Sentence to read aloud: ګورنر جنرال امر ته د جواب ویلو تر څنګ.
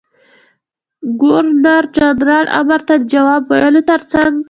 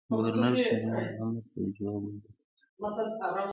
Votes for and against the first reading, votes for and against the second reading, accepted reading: 2, 1, 0, 2, first